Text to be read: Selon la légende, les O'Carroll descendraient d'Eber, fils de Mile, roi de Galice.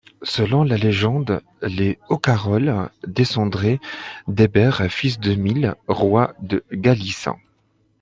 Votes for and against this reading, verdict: 2, 0, accepted